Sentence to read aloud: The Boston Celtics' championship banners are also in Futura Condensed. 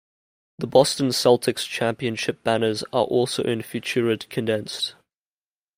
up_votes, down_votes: 0, 2